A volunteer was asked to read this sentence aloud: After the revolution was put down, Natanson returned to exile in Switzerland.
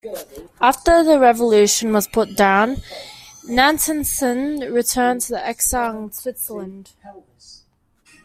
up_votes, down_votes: 2, 1